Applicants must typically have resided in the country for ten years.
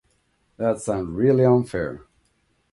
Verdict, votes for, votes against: rejected, 1, 2